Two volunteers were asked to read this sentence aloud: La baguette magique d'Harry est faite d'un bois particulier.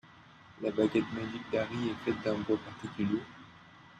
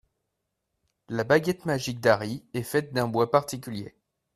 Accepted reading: second